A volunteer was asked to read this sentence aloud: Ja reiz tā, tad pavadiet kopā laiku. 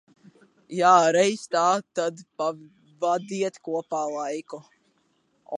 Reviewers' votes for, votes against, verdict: 1, 2, rejected